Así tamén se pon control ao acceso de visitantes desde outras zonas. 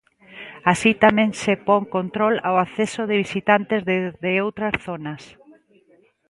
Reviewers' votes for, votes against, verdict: 2, 1, accepted